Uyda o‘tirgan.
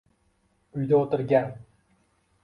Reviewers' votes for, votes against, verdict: 2, 0, accepted